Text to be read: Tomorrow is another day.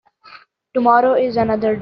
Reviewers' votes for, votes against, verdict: 0, 2, rejected